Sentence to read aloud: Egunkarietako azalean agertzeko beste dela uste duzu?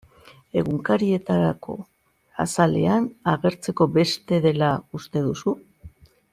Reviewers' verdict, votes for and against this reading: accepted, 2, 1